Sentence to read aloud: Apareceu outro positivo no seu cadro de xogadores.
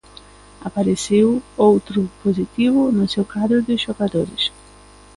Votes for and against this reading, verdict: 1, 2, rejected